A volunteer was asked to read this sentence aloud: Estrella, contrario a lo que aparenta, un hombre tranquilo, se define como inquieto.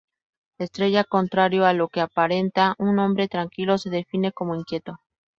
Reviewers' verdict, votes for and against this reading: accepted, 2, 0